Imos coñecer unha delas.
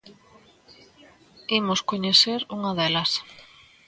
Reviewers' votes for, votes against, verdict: 2, 0, accepted